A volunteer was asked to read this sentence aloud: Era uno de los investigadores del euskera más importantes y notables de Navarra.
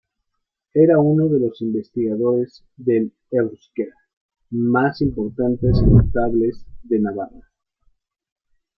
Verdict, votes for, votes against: accepted, 2, 1